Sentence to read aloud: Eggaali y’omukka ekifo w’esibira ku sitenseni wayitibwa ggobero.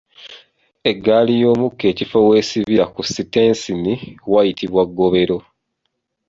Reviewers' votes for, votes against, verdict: 1, 2, rejected